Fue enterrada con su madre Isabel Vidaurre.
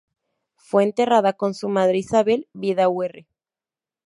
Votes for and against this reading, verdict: 0, 2, rejected